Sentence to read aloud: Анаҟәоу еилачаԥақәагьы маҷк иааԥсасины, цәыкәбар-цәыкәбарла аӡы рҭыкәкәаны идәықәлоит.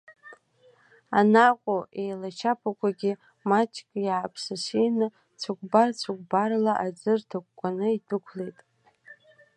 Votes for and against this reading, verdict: 2, 1, accepted